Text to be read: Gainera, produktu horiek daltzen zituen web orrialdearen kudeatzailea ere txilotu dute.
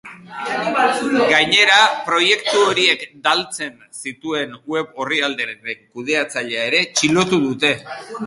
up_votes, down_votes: 0, 2